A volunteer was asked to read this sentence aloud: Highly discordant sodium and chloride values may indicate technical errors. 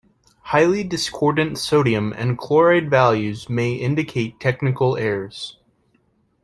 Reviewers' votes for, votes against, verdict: 2, 0, accepted